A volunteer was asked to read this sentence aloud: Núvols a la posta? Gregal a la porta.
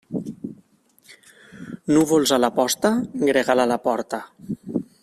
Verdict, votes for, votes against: rejected, 1, 2